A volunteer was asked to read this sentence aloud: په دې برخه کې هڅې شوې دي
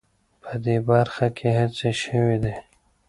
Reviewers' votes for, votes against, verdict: 2, 0, accepted